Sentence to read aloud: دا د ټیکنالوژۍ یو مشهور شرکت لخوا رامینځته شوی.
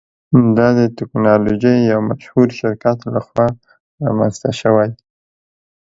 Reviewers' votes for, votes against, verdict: 2, 0, accepted